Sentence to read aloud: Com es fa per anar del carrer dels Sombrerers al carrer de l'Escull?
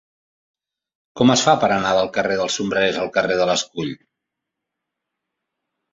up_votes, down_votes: 2, 0